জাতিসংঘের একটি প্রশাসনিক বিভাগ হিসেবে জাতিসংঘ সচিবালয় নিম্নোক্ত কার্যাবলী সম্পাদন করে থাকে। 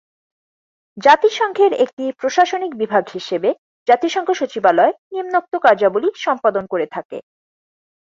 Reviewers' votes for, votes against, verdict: 4, 0, accepted